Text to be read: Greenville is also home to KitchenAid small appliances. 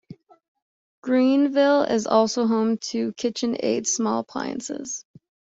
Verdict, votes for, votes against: accepted, 2, 0